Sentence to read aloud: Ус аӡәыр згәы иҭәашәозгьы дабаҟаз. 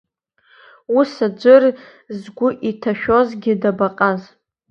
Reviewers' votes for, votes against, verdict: 2, 0, accepted